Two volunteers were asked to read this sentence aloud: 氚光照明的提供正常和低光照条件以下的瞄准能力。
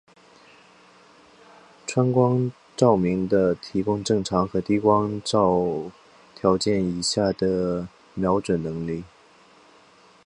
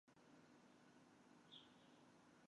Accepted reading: first